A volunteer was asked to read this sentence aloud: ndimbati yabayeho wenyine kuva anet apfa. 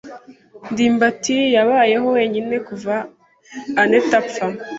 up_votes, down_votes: 2, 0